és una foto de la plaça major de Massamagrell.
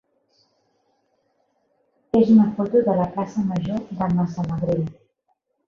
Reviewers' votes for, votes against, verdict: 1, 2, rejected